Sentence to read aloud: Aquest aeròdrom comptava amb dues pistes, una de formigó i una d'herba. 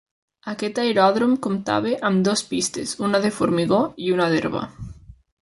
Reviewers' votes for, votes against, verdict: 0, 2, rejected